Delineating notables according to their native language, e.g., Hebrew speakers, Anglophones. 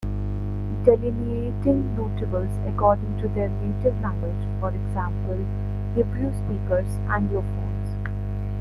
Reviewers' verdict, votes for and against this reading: accepted, 2, 1